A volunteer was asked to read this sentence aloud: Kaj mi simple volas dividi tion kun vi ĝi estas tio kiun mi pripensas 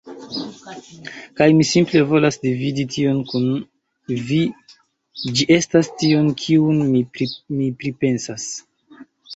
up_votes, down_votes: 1, 3